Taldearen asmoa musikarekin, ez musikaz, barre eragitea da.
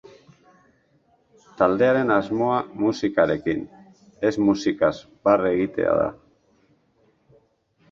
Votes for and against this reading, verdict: 0, 2, rejected